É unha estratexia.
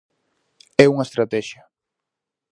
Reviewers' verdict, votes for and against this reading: accepted, 4, 0